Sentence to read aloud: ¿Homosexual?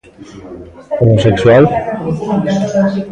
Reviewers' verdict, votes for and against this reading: accepted, 2, 0